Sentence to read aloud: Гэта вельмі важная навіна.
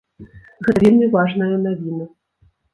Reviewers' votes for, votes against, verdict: 1, 2, rejected